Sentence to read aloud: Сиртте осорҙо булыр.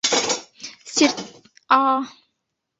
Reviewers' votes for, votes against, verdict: 0, 2, rejected